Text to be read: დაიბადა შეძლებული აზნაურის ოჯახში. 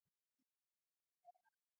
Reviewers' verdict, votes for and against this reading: rejected, 0, 2